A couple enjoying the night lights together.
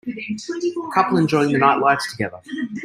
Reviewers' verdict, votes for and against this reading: accepted, 2, 1